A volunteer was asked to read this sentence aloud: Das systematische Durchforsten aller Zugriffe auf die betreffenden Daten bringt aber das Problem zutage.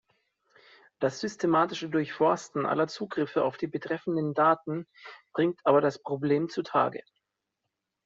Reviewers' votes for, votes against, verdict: 2, 0, accepted